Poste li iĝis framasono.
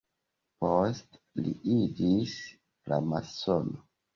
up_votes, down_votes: 2, 1